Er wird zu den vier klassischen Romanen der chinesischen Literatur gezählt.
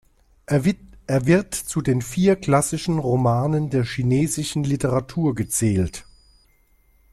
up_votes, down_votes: 0, 2